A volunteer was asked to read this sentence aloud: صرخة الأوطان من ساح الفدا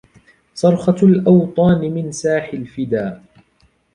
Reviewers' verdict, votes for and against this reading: accepted, 3, 0